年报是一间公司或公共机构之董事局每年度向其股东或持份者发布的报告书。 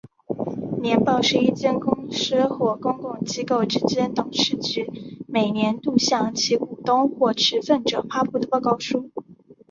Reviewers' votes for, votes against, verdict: 3, 1, accepted